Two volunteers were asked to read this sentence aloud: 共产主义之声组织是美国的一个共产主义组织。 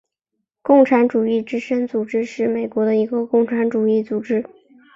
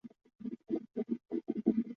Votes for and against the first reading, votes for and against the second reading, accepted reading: 4, 0, 1, 2, first